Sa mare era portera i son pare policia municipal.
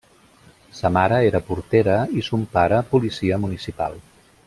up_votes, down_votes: 2, 0